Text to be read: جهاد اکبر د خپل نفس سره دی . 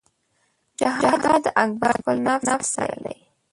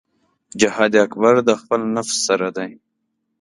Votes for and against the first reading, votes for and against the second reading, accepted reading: 1, 2, 2, 0, second